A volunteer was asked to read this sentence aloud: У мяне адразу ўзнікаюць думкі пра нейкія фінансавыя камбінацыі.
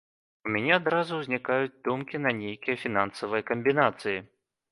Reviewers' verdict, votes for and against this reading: rejected, 1, 2